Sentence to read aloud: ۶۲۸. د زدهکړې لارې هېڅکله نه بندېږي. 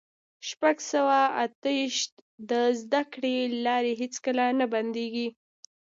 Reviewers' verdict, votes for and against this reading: rejected, 0, 2